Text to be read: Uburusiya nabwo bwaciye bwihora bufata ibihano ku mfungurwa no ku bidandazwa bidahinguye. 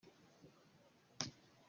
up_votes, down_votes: 0, 2